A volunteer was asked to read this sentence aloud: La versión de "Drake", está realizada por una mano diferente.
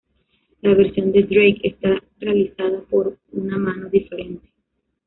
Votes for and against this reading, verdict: 1, 2, rejected